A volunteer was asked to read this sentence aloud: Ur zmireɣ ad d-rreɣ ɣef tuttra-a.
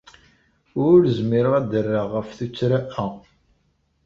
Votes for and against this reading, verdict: 0, 2, rejected